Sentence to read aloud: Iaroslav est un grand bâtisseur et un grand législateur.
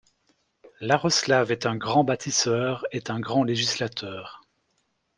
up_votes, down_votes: 0, 2